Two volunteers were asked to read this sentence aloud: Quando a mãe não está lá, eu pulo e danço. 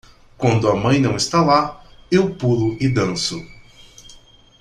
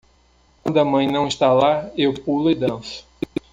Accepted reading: first